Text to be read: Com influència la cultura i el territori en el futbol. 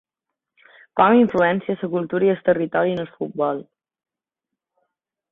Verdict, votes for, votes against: rejected, 2, 3